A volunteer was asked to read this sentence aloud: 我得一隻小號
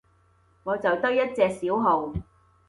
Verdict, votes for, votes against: rejected, 0, 2